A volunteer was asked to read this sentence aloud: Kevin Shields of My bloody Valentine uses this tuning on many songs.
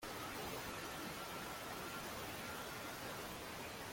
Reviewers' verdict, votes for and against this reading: rejected, 0, 2